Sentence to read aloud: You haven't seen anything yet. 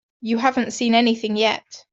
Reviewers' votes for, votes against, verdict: 2, 0, accepted